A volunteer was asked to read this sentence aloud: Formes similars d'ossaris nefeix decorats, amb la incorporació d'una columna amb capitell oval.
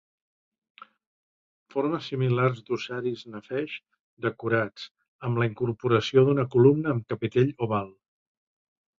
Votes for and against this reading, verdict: 0, 2, rejected